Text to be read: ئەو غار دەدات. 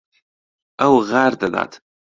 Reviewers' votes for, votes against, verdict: 2, 0, accepted